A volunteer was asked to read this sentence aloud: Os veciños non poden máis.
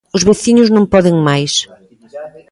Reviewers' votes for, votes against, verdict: 1, 2, rejected